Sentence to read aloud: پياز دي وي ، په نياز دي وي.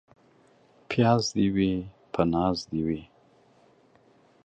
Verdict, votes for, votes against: rejected, 1, 2